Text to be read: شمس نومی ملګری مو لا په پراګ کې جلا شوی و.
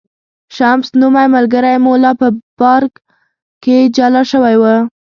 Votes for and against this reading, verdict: 0, 2, rejected